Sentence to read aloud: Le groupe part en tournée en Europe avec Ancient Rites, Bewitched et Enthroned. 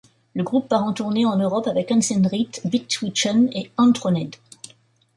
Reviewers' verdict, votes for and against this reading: rejected, 1, 2